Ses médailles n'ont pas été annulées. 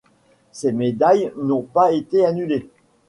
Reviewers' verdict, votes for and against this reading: accepted, 2, 0